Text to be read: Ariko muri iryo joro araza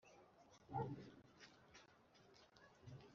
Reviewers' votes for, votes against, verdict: 0, 2, rejected